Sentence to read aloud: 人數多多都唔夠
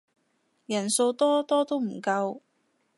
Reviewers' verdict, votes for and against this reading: accepted, 2, 0